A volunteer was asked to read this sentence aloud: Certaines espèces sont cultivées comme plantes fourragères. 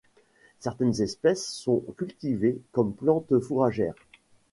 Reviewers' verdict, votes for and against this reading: accepted, 2, 1